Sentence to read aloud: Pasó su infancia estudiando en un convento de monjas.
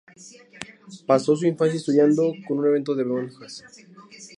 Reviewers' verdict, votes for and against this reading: rejected, 0, 2